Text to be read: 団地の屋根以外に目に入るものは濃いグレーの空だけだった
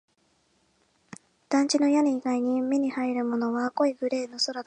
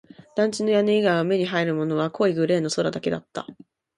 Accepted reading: second